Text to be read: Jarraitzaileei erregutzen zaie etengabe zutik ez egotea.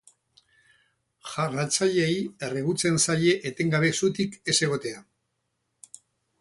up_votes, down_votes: 0, 2